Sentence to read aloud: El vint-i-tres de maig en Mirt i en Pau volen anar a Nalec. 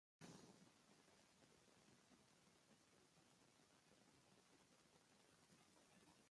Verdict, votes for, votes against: rejected, 0, 3